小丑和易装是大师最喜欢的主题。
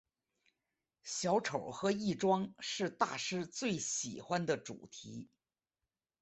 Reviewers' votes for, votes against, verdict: 4, 0, accepted